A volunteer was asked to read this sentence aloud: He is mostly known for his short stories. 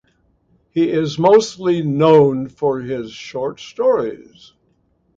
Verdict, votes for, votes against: accepted, 2, 0